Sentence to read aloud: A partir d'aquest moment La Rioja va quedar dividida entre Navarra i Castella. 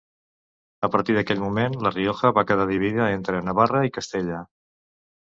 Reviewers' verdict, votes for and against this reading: accepted, 2, 1